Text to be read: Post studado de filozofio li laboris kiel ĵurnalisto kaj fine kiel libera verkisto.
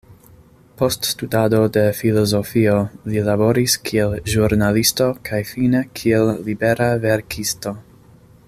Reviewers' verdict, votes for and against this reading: accepted, 2, 0